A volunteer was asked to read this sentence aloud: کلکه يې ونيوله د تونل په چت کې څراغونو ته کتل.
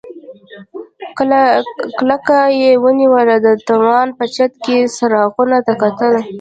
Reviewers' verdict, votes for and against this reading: rejected, 1, 2